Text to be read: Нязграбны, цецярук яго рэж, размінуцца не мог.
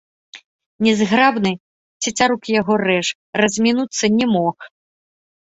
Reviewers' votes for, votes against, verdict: 2, 0, accepted